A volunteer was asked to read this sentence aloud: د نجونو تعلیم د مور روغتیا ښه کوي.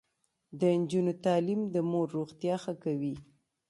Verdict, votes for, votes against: accepted, 2, 1